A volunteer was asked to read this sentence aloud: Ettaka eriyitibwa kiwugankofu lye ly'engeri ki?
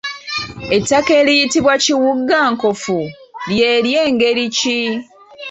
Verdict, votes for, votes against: accepted, 2, 0